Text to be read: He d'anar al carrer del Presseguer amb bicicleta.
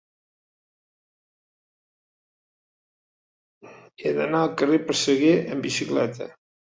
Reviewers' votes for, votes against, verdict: 1, 2, rejected